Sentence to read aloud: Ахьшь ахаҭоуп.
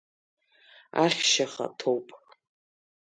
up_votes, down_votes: 2, 0